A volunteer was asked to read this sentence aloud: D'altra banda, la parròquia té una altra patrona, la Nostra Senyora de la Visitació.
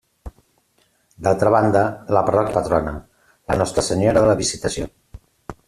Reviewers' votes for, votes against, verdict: 0, 2, rejected